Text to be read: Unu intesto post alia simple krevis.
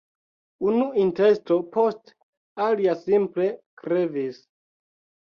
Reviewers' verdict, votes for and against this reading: accepted, 2, 1